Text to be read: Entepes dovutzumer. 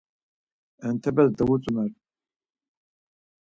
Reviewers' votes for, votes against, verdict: 4, 0, accepted